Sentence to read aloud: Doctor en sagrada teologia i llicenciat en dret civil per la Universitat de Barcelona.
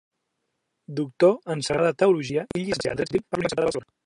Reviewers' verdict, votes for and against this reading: rejected, 0, 2